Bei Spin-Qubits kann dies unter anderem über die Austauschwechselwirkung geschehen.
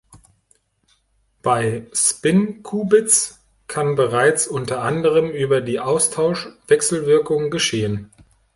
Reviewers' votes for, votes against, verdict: 0, 2, rejected